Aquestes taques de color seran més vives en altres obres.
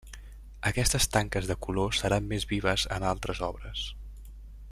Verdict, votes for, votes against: rejected, 1, 2